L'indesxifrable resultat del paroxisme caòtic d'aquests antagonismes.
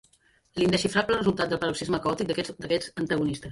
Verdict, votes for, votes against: rejected, 0, 2